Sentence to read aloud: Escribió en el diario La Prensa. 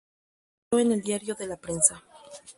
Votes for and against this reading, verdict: 0, 2, rejected